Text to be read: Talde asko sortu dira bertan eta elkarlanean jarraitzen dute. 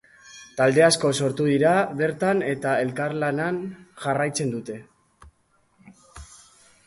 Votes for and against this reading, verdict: 2, 2, rejected